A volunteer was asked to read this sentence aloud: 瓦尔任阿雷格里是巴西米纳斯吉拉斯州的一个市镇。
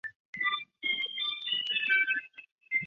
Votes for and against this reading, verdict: 0, 6, rejected